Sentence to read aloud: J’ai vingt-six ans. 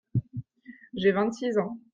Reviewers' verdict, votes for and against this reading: accepted, 2, 0